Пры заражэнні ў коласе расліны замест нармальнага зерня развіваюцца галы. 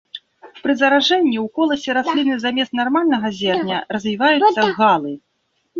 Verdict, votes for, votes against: rejected, 1, 2